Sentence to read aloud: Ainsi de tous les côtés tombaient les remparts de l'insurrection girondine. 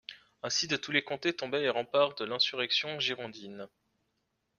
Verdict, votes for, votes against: rejected, 1, 2